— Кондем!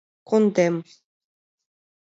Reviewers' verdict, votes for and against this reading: accepted, 2, 0